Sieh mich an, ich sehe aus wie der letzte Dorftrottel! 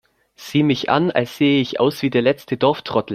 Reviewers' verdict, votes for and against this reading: rejected, 0, 2